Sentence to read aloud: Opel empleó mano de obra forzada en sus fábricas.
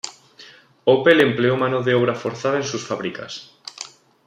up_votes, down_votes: 2, 0